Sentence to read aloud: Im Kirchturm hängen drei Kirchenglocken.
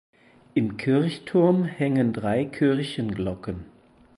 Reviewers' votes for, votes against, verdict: 6, 0, accepted